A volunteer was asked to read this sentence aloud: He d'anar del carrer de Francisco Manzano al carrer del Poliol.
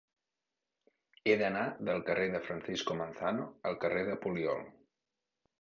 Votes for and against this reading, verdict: 1, 2, rejected